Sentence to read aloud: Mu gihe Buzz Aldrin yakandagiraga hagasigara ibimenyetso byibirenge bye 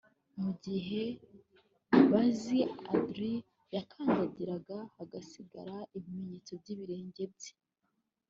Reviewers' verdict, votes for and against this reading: accepted, 2, 1